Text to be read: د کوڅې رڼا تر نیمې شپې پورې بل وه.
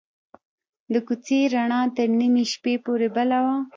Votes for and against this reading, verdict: 1, 2, rejected